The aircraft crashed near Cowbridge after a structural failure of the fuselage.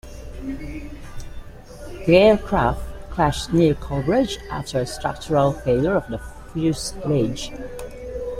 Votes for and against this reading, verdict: 1, 2, rejected